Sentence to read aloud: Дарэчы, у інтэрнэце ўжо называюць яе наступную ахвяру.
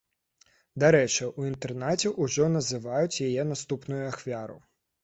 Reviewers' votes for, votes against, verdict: 1, 2, rejected